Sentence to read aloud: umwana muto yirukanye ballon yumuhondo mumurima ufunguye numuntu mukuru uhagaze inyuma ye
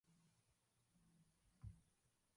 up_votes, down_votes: 0, 2